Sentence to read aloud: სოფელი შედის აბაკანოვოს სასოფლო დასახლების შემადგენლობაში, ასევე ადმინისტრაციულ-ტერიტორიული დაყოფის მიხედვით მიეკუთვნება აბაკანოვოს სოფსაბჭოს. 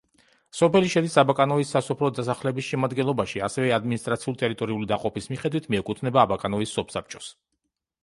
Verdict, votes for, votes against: rejected, 1, 2